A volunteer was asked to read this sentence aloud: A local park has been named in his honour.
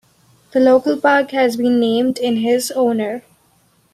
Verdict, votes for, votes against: accepted, 2, 0